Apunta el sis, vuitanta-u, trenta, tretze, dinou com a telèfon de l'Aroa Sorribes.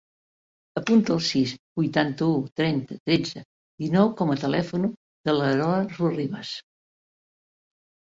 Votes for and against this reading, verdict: 0, 3, rejected